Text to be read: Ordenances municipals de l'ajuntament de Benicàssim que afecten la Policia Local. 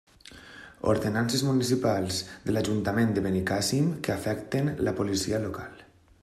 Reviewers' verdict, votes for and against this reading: accepted, 3, 0